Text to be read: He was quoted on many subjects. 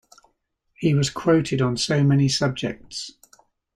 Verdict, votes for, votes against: rejected, 0, 2